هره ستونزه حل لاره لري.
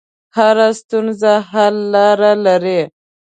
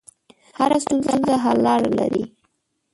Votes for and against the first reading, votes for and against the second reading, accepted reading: 2, 0, 1, 2, first